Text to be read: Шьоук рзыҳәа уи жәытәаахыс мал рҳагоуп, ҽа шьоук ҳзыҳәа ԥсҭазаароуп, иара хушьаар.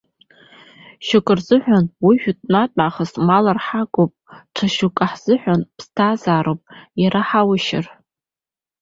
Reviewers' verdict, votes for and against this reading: rejected, 0, 2